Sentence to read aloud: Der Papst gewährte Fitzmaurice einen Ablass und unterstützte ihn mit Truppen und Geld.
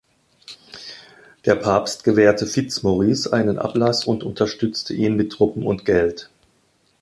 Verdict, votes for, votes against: accepted, 2, 0